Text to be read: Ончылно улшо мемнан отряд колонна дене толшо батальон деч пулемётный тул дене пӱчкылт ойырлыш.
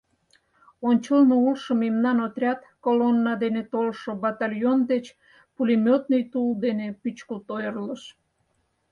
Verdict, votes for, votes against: accepted, 4, 0